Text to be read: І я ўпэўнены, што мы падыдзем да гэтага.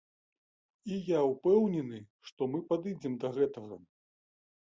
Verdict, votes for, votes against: accepted, 2, 0